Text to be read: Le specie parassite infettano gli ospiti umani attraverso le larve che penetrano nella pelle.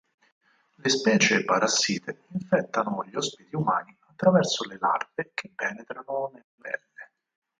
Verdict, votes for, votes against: rejected, 2, 4